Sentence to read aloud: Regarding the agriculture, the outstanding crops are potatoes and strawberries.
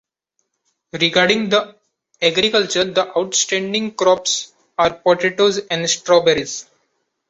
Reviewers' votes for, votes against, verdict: 2, 0, accepted